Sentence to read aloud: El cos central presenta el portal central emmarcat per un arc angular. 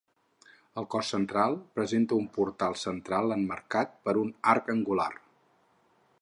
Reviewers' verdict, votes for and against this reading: rejected, 0, 4